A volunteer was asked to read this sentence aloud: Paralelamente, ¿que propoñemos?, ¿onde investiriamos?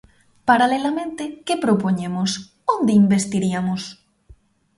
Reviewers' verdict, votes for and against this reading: rejected, 0, 3